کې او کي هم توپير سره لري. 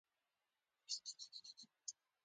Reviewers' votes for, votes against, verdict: 0, 2, rejected